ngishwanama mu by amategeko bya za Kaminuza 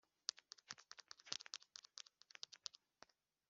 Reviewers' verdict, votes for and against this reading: rejected, 0, 2